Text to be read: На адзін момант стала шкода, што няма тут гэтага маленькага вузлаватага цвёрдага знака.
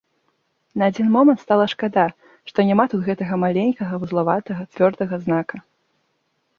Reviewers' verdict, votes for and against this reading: rejected, 1, 2